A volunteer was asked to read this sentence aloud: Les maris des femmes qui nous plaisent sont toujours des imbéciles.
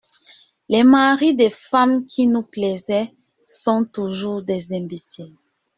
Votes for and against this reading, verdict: 0, 2, rejected